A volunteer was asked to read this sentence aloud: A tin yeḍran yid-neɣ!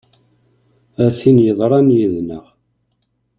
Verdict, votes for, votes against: accepted, 2, 0